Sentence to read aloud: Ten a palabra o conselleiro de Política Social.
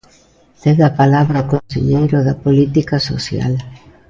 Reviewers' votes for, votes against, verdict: 2, 1, accepted